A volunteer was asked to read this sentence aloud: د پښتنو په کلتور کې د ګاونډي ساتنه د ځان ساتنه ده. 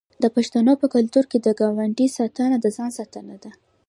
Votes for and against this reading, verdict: 2, 1, accepted